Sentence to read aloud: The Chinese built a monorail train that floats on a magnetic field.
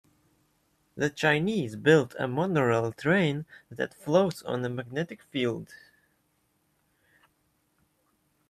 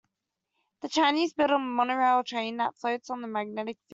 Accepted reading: first